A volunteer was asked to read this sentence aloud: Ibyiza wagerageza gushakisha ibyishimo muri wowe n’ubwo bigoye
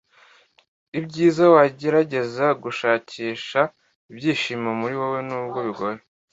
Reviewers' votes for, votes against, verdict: 2, 0, accepted